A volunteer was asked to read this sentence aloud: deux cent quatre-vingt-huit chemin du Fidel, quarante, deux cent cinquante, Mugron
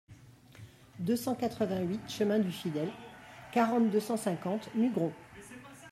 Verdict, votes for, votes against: rejected, 0, 2